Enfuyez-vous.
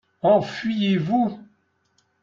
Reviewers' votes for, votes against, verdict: 2, 0, accepted